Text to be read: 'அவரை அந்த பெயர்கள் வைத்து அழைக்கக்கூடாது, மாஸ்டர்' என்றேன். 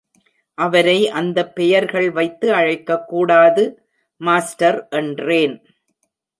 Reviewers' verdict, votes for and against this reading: accepted, 2, 0